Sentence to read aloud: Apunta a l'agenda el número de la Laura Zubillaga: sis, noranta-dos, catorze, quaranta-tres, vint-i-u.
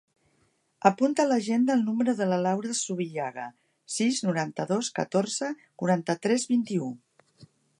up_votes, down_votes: 2, 0